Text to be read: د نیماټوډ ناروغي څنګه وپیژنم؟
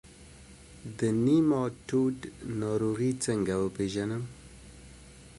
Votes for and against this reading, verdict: 2, 0, accepted